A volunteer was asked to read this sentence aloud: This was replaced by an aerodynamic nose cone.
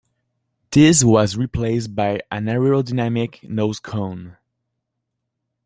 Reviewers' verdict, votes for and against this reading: rejected, 1, 2